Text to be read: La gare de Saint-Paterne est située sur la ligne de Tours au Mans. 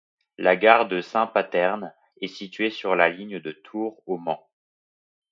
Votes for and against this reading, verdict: 2, 0, accepted